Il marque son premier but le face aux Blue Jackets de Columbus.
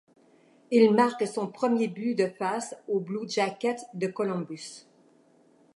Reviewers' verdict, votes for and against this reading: rejected, 1, 2